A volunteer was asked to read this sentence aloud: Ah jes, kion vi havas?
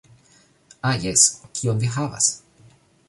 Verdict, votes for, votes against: accepted, 2, 0